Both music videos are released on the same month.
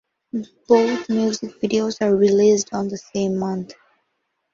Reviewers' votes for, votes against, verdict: 2, 2, rejected